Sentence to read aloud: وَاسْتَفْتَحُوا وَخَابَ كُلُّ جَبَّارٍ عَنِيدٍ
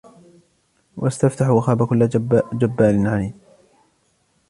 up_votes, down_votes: 2, 1